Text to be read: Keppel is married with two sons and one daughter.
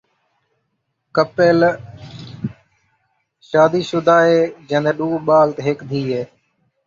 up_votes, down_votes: 0, 2